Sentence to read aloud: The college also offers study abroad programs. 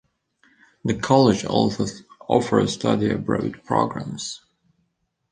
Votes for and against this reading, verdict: 2, 0, accepted